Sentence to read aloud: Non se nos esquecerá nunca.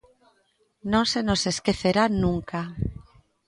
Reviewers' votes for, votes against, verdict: 2, 0, accepted